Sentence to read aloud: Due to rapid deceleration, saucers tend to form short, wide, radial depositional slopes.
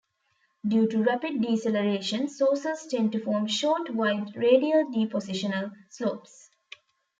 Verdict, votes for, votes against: accepted, 2, 0